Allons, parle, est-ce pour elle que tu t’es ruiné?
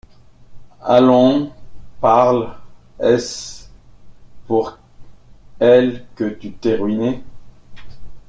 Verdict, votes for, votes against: rejected, 0, 2